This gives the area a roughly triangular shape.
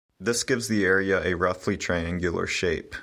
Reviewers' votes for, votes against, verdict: 2, 0, accepted